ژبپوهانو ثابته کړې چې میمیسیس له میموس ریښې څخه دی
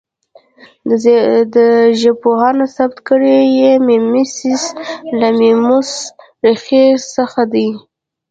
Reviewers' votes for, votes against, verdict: 2, 0, accepted